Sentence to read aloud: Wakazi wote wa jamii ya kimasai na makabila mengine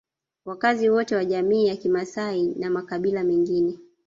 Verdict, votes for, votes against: accepted, 2, 0